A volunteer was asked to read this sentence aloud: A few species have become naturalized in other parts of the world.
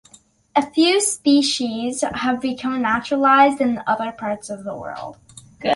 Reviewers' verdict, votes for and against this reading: accepted, 2, 1